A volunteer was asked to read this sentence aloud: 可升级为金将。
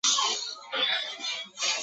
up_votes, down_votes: 0, 3